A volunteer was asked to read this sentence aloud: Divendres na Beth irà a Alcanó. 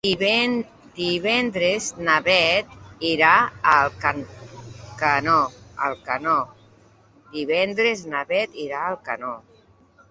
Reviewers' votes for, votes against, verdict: 0, 2, rejected